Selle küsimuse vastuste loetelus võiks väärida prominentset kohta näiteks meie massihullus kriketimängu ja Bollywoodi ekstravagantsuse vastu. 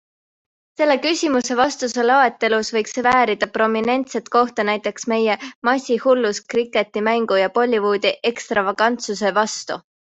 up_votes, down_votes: 0, 3